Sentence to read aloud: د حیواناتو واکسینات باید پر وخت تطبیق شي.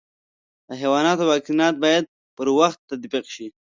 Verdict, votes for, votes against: accepted, 2, 0